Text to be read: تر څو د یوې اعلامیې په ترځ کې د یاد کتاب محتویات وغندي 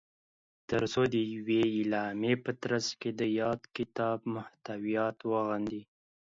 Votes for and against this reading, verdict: 2, 0, accepted